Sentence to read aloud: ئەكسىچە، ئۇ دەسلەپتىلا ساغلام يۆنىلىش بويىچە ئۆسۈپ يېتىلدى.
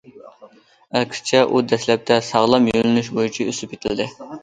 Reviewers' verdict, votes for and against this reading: rejected, 0, 2